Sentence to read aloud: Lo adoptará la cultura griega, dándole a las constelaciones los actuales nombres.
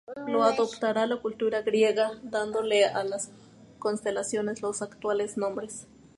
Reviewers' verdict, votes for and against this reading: rejected, 2, 2